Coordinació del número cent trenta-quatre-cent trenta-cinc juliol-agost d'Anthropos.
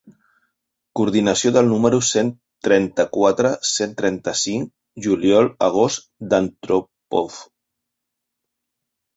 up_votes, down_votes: 0, 2